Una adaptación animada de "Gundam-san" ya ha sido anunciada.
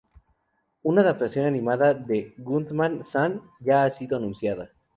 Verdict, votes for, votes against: rejected, 0, 2